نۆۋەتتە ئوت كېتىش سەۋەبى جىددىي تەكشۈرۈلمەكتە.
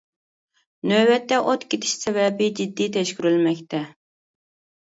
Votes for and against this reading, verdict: 1, 2, rejected